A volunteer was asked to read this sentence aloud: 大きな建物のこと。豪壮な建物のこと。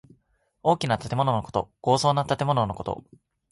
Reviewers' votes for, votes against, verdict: 4, 2, accepted